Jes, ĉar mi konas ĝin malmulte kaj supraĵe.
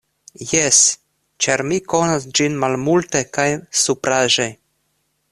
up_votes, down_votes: 2, 0